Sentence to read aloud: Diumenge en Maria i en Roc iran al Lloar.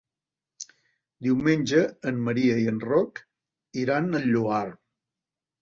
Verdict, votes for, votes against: accepted, 3, 0